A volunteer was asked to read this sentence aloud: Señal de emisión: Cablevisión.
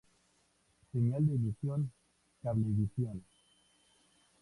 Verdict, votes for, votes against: rejected, 0, 2